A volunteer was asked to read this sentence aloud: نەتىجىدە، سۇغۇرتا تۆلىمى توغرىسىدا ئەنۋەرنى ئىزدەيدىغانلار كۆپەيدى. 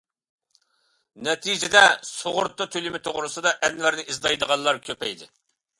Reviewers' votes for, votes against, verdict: 2, 0, accepted